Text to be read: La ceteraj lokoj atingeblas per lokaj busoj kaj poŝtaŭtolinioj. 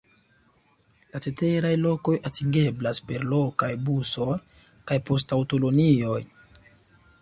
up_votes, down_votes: 0, 2